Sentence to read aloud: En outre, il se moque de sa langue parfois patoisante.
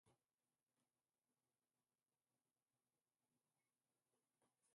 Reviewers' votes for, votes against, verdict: 1, 2, rejected